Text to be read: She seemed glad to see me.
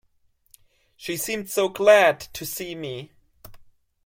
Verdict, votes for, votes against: rejected, 0, 2